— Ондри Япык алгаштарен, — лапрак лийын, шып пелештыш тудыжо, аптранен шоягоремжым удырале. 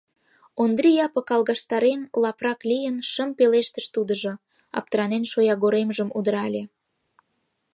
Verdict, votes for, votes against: accepted, 2, 1